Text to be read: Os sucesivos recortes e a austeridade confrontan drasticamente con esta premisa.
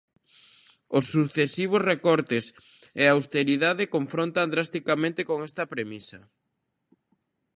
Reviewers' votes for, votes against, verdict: 2, 1, accepted